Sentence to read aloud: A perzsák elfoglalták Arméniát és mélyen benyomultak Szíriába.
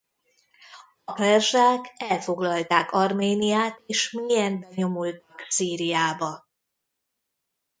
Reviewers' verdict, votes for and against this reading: rejected, 1, 3